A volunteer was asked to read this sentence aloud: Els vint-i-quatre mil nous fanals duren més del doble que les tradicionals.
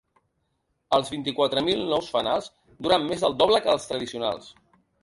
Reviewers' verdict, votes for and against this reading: rejected, 1, 2